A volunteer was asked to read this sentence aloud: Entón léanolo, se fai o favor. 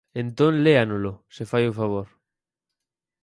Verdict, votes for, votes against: accepted, 4, 0